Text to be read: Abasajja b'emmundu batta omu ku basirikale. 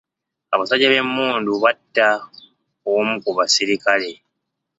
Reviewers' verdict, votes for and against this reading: accepted, 2, 0